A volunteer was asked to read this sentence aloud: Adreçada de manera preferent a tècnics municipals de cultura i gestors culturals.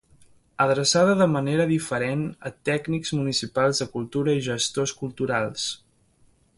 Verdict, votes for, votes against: rejected, 1, 4